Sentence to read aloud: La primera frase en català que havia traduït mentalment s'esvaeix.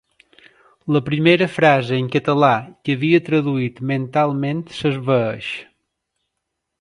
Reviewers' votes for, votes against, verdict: 3, 0, accepted